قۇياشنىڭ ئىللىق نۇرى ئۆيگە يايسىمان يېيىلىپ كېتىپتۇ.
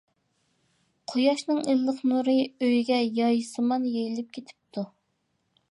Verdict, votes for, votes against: accepted, 2, 0